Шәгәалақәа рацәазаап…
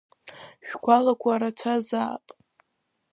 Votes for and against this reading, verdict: 1, 2, rejected